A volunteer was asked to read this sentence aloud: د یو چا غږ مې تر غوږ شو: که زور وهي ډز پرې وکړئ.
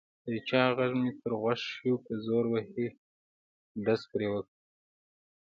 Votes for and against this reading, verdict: 1, 2, rejected